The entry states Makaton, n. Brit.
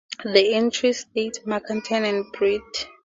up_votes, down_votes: 2, 0